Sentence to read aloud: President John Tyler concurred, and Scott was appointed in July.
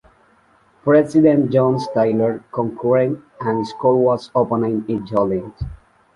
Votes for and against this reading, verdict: 0, 2, rejected